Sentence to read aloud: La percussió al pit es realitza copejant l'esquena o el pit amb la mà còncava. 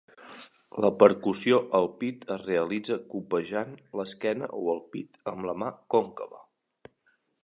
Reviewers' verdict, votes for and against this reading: accepted, 2, 0